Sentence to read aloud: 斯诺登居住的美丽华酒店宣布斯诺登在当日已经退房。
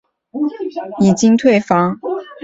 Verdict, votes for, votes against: rejected, 0, 3